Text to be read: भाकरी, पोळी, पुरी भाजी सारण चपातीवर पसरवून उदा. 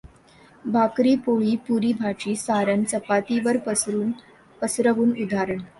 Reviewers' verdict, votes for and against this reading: rejected, 1, 2